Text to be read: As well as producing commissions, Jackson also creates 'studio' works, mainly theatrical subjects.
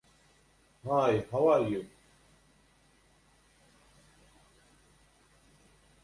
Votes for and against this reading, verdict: 0, 2, rejected